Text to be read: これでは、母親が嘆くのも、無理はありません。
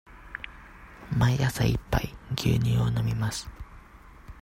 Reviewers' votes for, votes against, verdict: 0, 2, rejected